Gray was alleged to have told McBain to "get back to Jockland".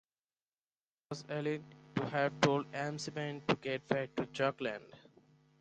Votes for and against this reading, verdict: 0, 4, rejected